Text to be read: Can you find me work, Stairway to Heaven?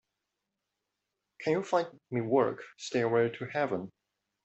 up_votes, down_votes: 2, 0